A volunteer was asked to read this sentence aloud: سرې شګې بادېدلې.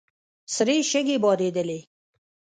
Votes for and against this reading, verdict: 1, 2, rejected